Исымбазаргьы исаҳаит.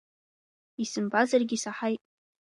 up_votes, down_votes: 2, 0